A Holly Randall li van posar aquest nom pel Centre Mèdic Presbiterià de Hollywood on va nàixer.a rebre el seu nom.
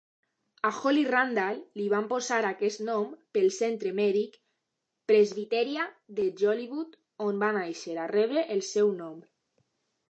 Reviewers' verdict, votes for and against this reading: rejected, 1, 2